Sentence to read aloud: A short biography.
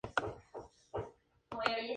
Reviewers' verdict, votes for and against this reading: rejected, 0, 2